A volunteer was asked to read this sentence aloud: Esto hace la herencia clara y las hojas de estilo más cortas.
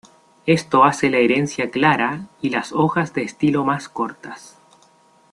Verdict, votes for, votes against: accepted, 2, 0